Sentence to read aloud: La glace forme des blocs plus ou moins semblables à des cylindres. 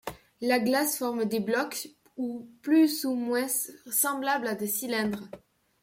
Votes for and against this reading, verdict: 1, 2, rejected